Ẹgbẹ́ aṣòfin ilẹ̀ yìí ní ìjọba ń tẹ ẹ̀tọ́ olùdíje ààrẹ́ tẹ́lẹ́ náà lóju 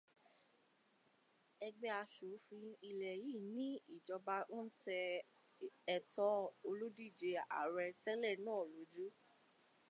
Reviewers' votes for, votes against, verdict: 2, 0, accepted